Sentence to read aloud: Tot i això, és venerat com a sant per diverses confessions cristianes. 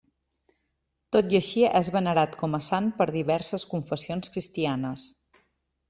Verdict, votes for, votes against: rejected, 0, 2